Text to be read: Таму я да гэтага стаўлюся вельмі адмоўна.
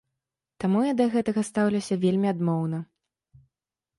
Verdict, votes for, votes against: accepted, 2, 0